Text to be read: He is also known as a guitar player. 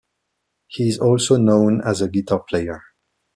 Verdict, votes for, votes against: accepted, 2, 1